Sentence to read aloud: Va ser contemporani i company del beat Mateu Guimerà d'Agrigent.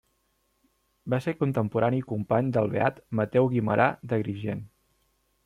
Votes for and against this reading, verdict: 2, 0, accepted